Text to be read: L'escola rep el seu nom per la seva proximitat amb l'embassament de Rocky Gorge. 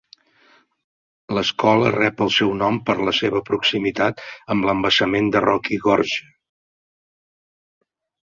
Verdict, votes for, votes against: accepted, 4, 0